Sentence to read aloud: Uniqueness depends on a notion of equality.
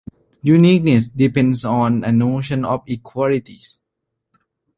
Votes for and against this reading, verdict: 0, 2, rejected